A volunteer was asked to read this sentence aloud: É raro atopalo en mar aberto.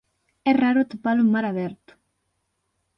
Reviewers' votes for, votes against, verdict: 6, 0, accepted